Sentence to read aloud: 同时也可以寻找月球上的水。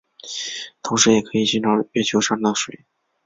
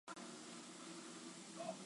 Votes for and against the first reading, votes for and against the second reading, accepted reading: 3, 0, 0, 3, first